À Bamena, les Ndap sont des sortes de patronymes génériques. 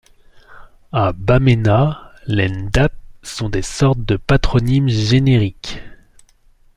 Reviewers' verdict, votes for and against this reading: accepted, 2, 0